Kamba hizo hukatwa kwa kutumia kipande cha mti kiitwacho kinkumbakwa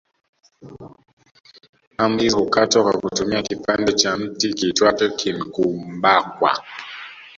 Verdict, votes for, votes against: rejected, 0, 2